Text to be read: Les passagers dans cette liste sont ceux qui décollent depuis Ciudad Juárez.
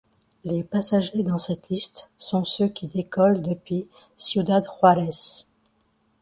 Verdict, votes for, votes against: rejected, 1, 2